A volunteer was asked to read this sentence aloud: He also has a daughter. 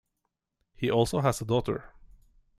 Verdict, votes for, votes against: accepted, 2, 0